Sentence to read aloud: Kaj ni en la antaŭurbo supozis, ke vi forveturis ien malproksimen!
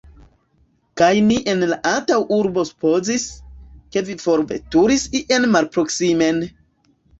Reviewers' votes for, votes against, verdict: 2, 0, accepted